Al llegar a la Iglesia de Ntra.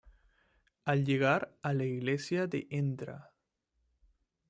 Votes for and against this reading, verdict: 1, 2, rejected